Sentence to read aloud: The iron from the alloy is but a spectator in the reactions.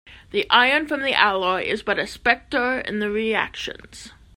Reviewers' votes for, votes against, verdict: 1, 2, rejected